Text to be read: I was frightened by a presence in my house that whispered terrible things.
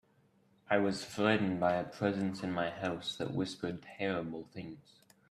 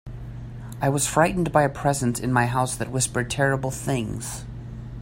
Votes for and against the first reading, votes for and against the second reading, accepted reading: 1, 2, 2, 0, second